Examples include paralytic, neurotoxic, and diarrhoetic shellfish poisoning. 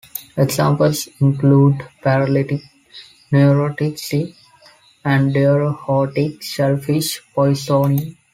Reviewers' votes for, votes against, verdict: 2, 1, accepted